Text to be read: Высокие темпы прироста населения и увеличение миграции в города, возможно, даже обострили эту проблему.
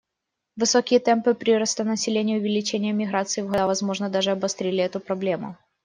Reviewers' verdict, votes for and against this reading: rejected, 1, 2